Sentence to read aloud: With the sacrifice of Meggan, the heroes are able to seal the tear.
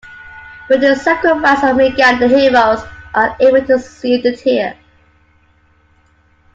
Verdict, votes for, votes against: accepted, 3, 1